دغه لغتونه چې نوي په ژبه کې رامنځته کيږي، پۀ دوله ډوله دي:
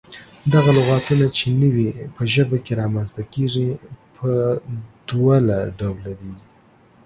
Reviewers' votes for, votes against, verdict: 3, 0, accepted